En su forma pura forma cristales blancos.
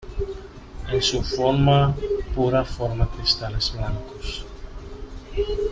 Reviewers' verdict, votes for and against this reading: accepted, 2, 0